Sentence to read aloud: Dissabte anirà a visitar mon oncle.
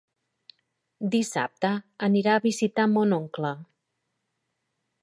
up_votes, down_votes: 3, 0